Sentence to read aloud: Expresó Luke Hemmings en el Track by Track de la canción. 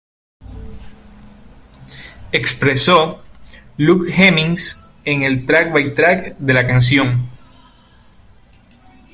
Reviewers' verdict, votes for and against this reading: rejected, 1, 2